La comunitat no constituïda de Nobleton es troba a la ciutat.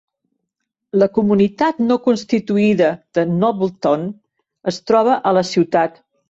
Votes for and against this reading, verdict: 3, 0, accepted